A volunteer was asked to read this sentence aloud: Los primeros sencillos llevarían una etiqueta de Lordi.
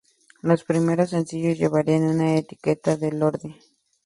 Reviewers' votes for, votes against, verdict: 2, 0, accepted